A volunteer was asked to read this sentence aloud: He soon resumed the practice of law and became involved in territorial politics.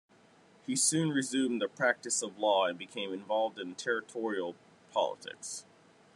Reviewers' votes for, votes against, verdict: 2, 0, accepted